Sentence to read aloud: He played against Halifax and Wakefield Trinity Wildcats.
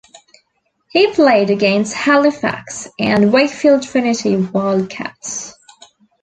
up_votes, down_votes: 2, 0